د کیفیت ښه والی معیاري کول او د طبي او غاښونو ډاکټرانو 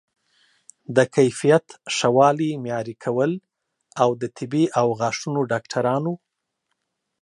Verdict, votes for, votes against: accepted, 2, 0